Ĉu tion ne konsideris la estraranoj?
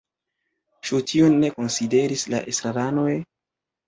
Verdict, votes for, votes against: rejected, 1, 2